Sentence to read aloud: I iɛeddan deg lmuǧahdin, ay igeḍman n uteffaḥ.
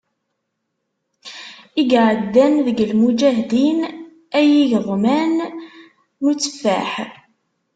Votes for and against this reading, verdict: 1, 2, rejected